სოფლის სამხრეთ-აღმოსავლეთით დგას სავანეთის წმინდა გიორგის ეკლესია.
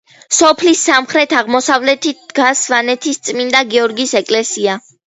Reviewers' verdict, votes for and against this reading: accepted, 2, 1